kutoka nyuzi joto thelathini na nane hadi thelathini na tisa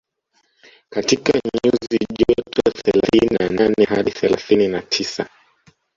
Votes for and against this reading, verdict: 1, 2, rejected